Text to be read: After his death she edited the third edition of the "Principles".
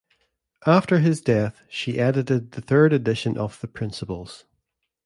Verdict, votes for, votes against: accepted, 2, 0